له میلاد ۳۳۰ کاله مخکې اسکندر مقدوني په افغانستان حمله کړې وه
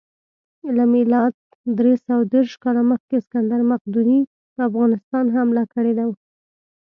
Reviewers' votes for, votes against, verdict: 0, 2, rejected